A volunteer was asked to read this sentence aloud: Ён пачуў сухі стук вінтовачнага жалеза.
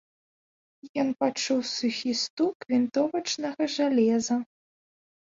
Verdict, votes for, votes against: accepted, 2, 0